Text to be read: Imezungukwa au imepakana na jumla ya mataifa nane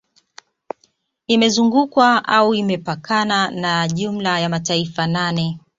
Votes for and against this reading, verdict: 2, 0, accepted